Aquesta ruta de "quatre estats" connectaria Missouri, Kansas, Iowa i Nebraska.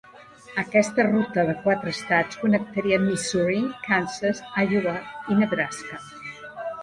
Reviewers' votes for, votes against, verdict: 1, 2, rejected